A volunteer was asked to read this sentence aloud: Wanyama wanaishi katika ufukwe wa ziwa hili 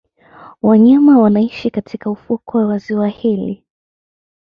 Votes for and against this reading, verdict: 0, 2, rejected